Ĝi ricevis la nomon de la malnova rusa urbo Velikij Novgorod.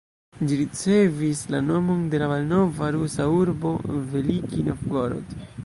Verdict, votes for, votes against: rejected, 0, 2